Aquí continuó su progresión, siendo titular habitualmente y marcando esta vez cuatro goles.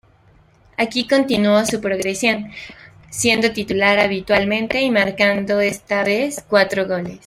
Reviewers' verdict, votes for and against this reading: accepted, 2, 0